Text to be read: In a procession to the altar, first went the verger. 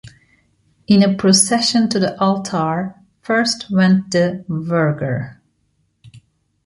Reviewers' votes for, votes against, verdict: 1, 2, rejected